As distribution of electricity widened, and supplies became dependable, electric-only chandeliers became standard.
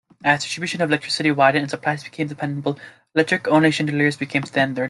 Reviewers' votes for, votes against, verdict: 1, 2, rejected